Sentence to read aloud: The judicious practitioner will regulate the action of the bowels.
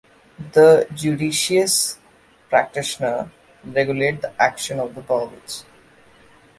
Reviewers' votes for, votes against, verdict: 1, 2, rejected